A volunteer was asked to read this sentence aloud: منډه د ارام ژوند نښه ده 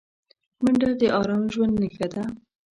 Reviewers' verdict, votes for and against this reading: accepted, 2, 0